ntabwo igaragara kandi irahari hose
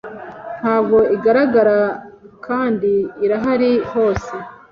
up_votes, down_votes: 2, 0